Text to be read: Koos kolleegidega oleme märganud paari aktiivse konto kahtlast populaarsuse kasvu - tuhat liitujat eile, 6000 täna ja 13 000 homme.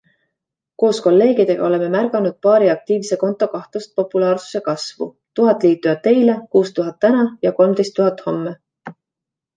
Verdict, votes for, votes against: rejected, 0, 2